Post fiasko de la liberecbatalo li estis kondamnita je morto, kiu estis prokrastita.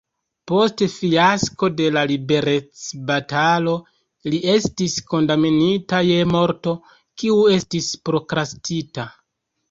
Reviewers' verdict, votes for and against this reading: accepted, 2, 0